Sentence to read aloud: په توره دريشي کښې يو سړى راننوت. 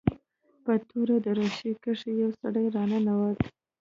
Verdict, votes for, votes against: rejected, 0, 2